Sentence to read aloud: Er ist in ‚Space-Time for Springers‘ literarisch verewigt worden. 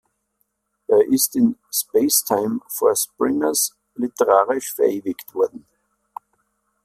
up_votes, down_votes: 2, 0